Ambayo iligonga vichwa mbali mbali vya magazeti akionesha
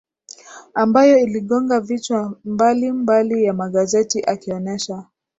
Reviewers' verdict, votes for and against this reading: rejected, 1, 2